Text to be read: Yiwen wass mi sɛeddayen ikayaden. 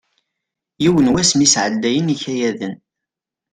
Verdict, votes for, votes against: accepted, 2, 0